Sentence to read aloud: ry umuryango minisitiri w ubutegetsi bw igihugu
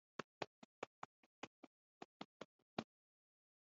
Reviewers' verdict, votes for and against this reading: rejected, 1, 2